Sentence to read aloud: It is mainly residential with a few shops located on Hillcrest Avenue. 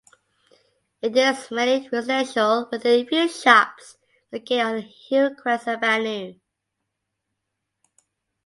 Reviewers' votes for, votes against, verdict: 0, 2, rejected